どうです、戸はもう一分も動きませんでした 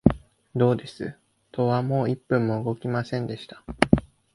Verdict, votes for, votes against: rejected, 1, 2